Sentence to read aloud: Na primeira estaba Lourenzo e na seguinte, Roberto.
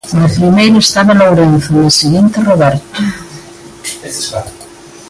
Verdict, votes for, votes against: rejected, 1, 2